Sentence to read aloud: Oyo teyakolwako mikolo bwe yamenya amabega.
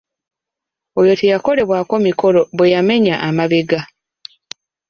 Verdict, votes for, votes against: rejected, 0, 2